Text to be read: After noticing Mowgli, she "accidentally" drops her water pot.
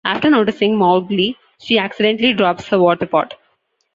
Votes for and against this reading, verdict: 2, 1, accepted